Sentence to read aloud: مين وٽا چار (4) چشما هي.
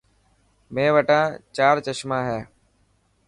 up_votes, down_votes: 0, 2